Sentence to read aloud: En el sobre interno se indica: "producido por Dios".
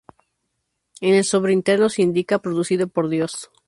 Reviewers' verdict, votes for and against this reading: accepted, 2, 0